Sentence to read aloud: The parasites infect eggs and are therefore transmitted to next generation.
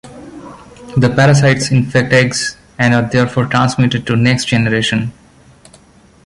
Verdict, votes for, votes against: accepted, 2, 0